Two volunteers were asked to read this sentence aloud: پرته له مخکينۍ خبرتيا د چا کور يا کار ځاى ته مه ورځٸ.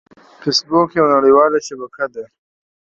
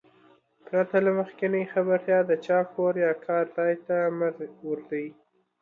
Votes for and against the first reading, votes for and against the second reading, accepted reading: 0, 2, 2, 1, second